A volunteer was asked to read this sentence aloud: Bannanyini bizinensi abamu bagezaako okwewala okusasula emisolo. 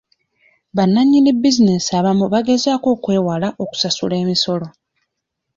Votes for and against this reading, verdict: 2, 0, accepted